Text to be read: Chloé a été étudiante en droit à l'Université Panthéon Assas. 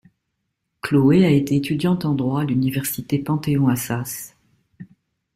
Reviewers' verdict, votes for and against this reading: accepted, 2, 1